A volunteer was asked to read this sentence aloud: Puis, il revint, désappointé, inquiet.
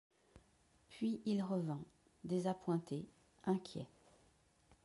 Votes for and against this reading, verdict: 2, 1, accepted